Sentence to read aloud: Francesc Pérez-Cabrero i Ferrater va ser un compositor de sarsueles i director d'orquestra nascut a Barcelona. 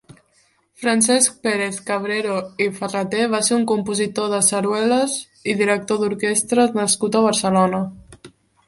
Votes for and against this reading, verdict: 1, 2, rejected